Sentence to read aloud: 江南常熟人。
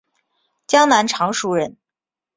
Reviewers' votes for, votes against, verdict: 2, 0, accepted